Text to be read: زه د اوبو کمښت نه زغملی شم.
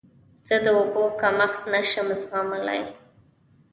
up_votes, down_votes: 1, 2